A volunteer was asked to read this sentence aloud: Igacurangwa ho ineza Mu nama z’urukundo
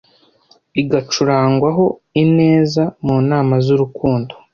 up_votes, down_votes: 2, 0